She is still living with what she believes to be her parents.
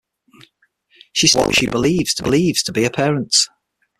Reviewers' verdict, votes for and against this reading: rejected, 0, 6